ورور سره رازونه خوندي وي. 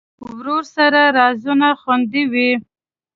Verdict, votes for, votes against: accepted, 2, 0